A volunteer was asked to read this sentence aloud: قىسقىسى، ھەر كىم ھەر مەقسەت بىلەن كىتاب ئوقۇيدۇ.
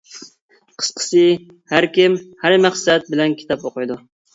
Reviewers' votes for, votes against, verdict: 2, 0, accepted